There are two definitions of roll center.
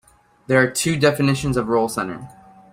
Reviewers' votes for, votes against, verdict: 2, 0, accepted